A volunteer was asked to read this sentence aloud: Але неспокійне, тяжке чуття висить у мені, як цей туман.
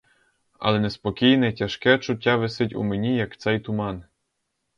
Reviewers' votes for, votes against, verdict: 4, 0, accepted